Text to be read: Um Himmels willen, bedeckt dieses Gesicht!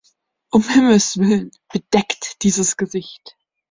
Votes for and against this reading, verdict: 2, 0, accepted